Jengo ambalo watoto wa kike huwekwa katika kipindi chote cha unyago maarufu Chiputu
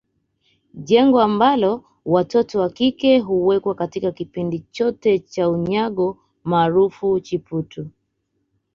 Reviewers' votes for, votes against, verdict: 2, 0, accepted